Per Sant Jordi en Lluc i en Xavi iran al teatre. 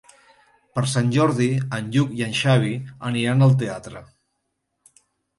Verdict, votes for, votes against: rejected, 1, 3